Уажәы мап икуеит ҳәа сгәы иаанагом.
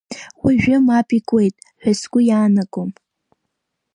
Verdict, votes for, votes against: rejected, 1, 2